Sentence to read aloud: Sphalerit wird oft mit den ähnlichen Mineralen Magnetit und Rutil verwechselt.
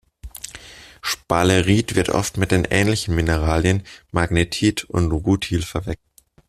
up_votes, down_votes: 0, 2